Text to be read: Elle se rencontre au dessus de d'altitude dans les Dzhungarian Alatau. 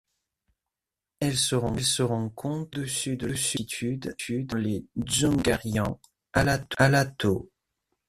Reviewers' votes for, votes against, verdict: 0, 2, rejected